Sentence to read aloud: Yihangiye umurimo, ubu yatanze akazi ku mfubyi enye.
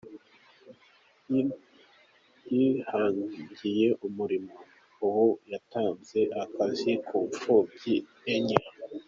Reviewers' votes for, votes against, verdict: 1, 2, rejected